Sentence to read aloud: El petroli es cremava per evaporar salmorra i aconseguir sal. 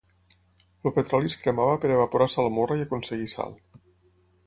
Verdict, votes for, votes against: accepted, 6, 0